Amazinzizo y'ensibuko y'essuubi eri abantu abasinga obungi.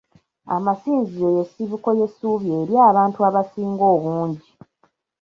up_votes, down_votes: 1, 2